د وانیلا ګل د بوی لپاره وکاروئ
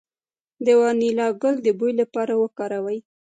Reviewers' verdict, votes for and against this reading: rejected, 1, 2